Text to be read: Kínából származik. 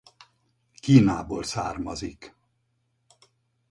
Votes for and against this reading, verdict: 4, 0, accepted